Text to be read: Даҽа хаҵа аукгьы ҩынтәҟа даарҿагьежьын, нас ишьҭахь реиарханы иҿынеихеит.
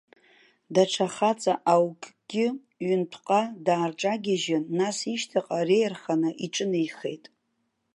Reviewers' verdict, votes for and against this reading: accepted, 2, 1